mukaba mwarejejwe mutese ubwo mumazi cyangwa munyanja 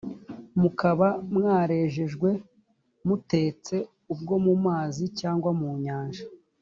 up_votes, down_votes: 1, 2